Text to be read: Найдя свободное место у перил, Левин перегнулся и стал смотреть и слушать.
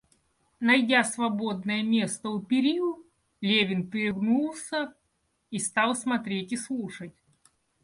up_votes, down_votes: 2, 1